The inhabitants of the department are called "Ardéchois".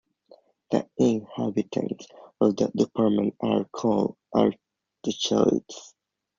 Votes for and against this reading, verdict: 2, 1, accepted